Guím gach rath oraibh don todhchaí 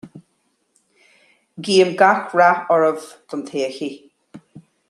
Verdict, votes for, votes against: accepted, 2, 0